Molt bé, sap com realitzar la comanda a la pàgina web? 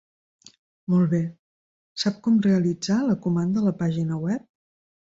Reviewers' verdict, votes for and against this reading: accepted, 3, 0